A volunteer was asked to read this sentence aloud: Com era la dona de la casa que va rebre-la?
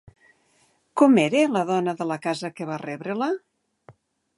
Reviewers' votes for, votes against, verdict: 2, 0, accepted